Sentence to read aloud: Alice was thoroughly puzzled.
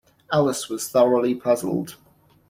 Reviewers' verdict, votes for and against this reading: accepted, 2, 0